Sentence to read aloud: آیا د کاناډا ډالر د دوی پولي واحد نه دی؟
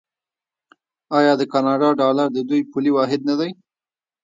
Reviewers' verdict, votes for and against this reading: rejected, 1, 2